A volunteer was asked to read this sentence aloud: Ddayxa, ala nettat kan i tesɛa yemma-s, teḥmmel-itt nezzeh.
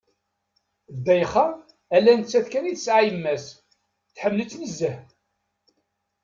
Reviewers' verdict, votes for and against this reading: accepted, 2, 1